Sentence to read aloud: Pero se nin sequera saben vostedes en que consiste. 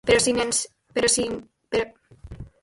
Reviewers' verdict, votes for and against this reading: rejected, 0, 4